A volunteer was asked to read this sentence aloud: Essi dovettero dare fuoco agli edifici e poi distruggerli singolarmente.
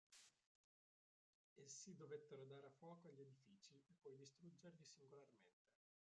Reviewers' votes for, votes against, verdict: 0, 2, rejected